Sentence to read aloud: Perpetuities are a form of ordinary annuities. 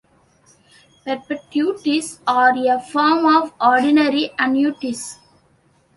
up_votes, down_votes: 0, 2